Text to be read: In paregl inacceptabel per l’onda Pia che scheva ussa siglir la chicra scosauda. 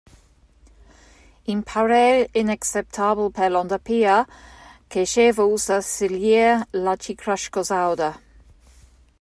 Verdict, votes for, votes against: rejected, 0, 2